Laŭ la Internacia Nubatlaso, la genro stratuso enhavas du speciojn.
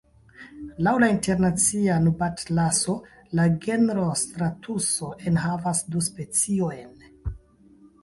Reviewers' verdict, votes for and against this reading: rejected, 1, 2